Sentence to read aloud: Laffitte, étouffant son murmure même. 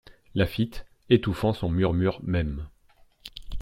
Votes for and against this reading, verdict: 2, 0, accepted